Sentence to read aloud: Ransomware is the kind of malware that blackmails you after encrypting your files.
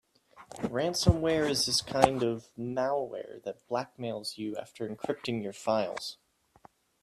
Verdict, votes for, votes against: rejected, 1, 2